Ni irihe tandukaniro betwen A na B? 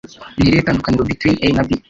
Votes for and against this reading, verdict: 1, 2, rejected